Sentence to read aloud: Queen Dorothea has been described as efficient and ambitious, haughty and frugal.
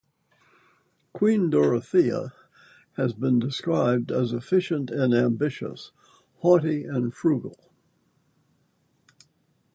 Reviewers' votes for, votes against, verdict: 0, 2, rejected